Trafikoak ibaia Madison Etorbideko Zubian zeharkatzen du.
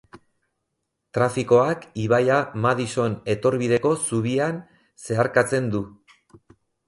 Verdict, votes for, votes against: accepted, 4, 0